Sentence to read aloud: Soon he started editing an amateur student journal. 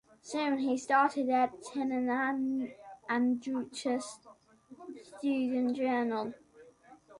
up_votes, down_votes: 0, 2